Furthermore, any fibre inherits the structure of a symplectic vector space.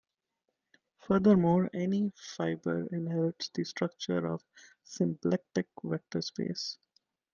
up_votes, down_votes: 2, 0